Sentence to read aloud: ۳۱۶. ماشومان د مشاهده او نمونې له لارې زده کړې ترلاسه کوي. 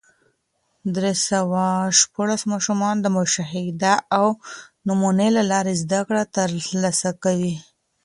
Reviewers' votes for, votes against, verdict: 0, 2, rejected